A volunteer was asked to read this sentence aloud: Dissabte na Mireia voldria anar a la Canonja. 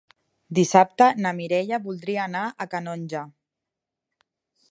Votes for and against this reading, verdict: 0, 2, rejected